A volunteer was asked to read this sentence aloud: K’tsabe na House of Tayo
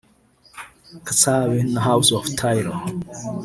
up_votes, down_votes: 0, 2